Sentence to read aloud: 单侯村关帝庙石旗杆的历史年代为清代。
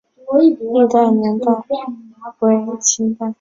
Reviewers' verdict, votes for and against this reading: rejected, 0, 2